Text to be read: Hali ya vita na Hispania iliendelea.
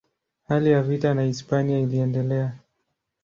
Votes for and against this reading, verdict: 2, 0, accepted